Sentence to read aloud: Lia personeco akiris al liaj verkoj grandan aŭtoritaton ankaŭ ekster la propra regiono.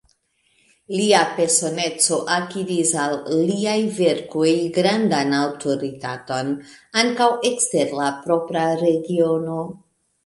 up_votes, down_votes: 3, 1